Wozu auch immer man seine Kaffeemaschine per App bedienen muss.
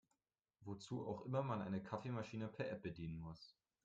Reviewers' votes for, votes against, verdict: 0, 2, rejected